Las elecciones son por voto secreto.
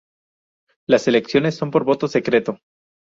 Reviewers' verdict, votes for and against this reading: rejected, 0, 2